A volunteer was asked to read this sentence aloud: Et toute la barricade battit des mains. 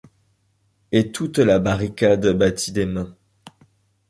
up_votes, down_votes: 2, 0